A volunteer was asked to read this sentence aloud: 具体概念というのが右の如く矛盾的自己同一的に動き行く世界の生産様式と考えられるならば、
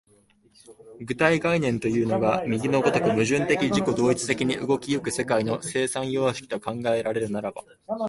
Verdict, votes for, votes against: accepted, 2, 0